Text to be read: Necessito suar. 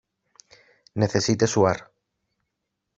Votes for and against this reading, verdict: 1, 2, rejected